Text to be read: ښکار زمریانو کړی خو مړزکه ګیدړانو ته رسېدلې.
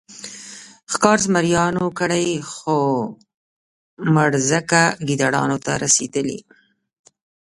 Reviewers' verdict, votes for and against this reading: accepted, 4, 0